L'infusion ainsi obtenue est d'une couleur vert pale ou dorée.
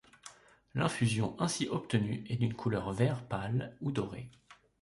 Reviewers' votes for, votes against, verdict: 2, 0, accepted